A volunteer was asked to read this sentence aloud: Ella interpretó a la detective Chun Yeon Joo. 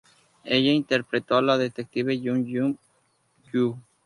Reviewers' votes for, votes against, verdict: 0, 2, rejected